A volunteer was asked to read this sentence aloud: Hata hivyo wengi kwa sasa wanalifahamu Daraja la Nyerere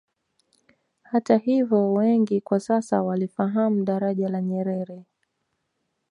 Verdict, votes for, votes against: accepted, 2, 1